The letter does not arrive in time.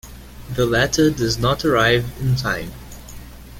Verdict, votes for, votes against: accepted, 2, 0